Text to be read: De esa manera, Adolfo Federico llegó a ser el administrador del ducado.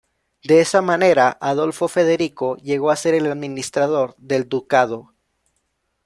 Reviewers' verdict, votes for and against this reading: accepted, 2, 0